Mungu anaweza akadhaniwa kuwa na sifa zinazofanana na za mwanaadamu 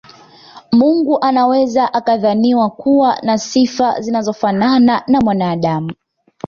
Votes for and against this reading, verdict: 2, 0, accepted